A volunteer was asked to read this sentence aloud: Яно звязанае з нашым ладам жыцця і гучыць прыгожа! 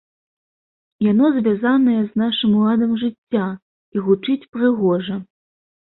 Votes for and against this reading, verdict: 2, 0, accepted